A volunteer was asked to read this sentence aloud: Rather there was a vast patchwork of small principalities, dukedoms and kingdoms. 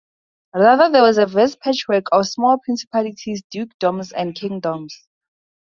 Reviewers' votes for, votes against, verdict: 0, 2, rejected